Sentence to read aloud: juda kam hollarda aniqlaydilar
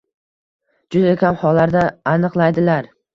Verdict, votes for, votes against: accepted, 2, 0